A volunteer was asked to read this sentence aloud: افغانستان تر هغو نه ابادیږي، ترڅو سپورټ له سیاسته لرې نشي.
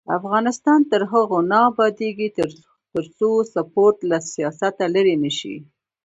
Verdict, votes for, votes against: rejected, 1, 2